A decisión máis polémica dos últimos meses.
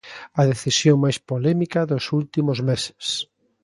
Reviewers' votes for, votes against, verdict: 2, 0, accepted